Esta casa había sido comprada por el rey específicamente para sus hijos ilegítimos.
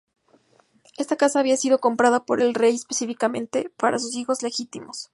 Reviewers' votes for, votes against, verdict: 2, 2, rejected